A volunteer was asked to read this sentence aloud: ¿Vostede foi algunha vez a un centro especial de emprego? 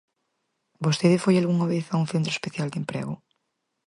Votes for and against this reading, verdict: 4, 0, accepted